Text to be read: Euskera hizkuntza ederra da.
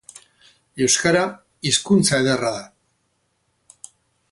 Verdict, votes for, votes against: rejected, 0, 2